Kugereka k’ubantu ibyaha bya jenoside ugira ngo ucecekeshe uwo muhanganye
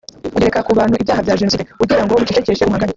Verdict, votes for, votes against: rejected, 1, 2